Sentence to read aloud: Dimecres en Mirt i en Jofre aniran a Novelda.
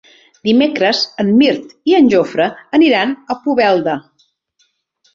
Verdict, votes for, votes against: rejected, 0, 2